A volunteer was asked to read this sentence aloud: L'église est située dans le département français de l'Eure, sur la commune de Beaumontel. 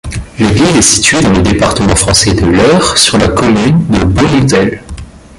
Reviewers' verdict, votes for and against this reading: rejected, 0, 2